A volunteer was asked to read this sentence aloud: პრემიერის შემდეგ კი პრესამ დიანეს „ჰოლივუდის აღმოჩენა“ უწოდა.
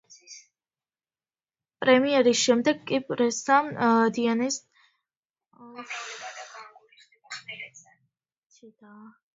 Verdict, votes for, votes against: rejected, 0, 2